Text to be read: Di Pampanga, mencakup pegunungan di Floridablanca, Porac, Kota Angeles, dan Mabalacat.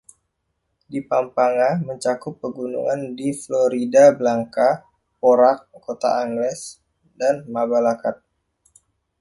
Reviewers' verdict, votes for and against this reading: rejected, 1, 2